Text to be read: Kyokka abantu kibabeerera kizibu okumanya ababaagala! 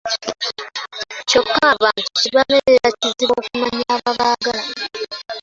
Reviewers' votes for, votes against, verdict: 0, 2, rejected